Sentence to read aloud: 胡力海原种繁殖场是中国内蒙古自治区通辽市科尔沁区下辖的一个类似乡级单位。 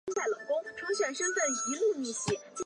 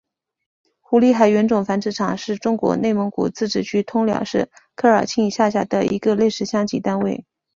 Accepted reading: second